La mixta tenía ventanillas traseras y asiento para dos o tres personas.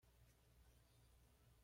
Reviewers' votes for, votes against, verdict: 1, 2, rejected